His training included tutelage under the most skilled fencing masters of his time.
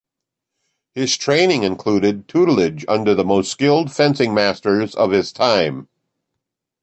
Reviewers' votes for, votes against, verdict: 2, 0, accepted